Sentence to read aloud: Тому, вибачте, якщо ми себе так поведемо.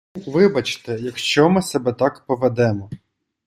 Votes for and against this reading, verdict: 0, 2, rejected